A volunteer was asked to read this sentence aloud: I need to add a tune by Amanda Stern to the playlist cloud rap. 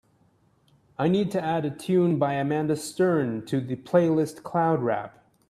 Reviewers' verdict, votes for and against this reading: accepted, 3, 0